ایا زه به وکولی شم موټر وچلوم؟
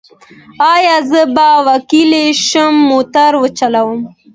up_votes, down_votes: 2, 0